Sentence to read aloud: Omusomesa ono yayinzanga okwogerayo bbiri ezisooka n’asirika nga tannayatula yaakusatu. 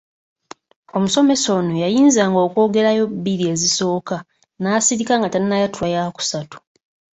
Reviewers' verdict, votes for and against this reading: accepted, 2, 0